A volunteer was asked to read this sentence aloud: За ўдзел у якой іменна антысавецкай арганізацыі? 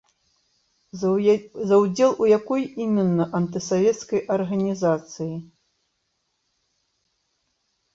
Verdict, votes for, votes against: rejected, 1, 2